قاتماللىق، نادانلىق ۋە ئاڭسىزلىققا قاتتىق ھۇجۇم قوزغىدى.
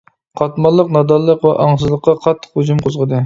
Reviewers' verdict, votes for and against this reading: accepted, 2, 0